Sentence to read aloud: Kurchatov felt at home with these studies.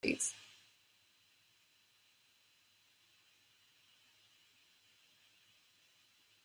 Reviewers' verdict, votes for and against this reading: rejected, 0, 2